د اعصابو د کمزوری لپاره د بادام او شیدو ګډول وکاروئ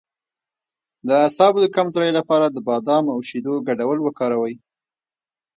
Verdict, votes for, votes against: accepted, 3, 0